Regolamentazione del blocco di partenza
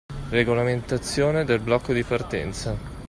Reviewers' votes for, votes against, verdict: 2, 0, accepted